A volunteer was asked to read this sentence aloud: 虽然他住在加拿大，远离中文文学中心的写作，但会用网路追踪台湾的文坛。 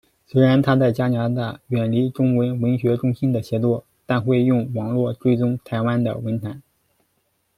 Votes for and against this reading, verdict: 0, 2, rejected